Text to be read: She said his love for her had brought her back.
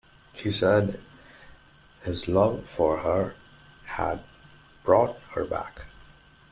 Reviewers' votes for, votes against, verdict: 2, 1, accepted